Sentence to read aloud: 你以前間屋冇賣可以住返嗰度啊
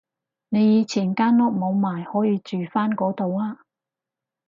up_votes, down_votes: 6, 0